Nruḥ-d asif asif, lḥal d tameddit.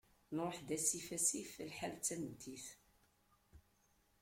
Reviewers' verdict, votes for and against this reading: accepted, 2, 1